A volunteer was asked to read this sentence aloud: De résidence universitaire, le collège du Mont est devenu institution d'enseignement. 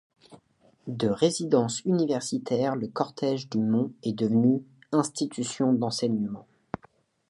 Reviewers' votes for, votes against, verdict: 1, 2, rejected